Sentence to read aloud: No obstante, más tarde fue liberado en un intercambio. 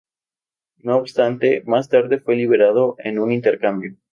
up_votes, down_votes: 2, 0